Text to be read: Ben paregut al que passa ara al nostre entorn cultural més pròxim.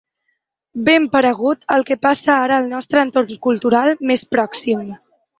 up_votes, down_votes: 3, 0